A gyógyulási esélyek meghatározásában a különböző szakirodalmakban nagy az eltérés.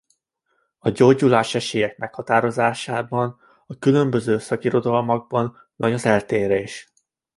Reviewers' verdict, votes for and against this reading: accepted, 2, 0